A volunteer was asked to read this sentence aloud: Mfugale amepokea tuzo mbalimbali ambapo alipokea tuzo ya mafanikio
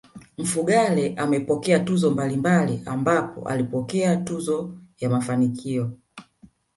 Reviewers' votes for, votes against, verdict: 2, 0, accepted